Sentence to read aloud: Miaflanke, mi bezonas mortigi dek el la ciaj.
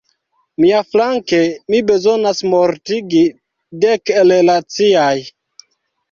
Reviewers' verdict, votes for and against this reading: rejected, 1, 2